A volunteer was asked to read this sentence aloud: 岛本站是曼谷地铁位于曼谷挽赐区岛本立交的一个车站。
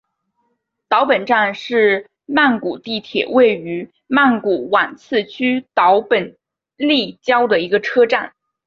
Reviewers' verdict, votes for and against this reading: accepted, 2, 0